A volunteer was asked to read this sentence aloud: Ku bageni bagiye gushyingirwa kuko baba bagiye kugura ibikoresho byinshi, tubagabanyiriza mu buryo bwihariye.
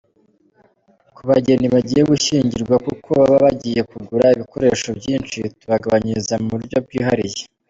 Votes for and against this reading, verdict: 2, 1, accepted